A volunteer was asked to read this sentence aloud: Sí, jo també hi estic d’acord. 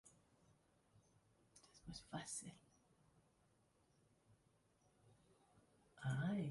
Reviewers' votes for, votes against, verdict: 0, 2, rejected